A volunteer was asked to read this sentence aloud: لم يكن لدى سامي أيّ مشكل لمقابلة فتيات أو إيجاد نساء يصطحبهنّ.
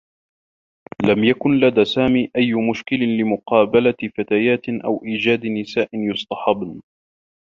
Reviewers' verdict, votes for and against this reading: rejected, 0, 2